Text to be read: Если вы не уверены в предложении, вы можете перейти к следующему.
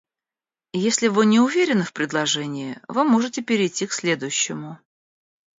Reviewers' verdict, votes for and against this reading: rejected, 1, 2